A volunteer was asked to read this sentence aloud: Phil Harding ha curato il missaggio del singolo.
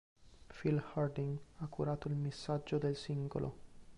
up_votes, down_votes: 2, 0